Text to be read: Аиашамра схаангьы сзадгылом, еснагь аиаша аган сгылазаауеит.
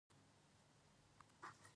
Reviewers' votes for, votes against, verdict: 1, 2, rejected